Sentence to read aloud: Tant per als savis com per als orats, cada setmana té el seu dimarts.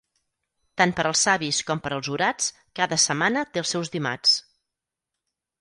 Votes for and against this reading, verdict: 2, 4, rejected